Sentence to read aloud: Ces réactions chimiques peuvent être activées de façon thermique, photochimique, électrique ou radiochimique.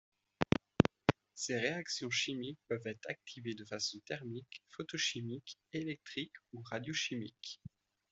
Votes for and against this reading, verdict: 2, 0, accepted